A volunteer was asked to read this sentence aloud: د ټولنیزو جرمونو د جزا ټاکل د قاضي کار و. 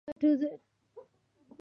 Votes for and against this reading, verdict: 0, 2, rejected